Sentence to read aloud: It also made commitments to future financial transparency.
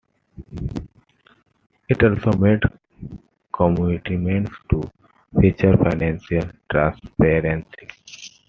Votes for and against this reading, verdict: 0, 2, rejected